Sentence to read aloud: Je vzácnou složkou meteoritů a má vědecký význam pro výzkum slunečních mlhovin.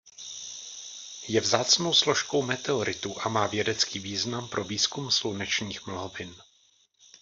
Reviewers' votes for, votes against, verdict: 0, 2, rejected